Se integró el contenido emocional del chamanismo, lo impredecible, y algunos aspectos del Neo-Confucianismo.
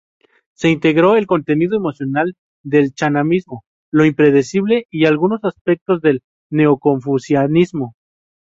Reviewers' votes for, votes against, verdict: 0, 2, rejected